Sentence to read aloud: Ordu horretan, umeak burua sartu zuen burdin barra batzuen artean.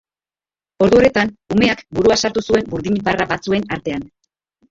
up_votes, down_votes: 0, 3